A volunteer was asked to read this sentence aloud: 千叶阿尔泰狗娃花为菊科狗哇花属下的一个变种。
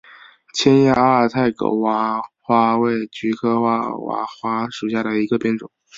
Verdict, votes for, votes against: rejected, 1, 2